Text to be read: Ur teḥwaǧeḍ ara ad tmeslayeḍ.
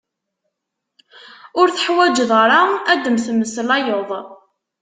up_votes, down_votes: 0, 2